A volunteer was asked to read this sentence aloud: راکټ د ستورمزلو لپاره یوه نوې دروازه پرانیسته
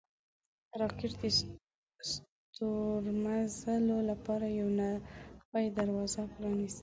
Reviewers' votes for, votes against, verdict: 0, 2, rejected